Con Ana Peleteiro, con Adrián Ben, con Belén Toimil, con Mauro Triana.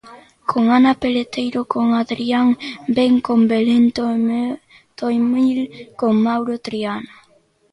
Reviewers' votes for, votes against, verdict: 0, 2, rejected